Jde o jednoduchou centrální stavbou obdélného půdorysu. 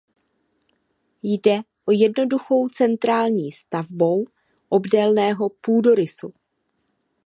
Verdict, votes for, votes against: accepted, 2, 0